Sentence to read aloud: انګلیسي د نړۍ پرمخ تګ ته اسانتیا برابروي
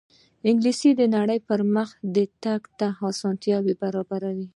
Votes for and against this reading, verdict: 2, 1, accepted